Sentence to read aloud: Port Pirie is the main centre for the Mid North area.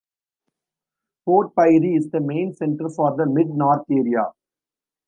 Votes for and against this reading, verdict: 3, 1, accepted